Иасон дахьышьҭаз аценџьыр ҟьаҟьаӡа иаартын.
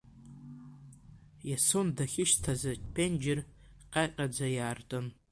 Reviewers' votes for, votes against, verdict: 2, 0, accepted